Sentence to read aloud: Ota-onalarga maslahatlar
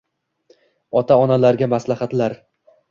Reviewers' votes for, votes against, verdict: 2, 0, accepted